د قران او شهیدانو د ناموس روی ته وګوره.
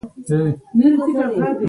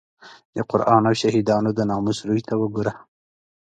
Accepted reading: second